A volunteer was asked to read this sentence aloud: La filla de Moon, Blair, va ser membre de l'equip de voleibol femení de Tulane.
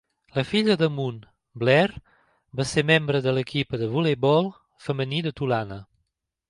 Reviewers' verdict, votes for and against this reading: accepted, 2, 0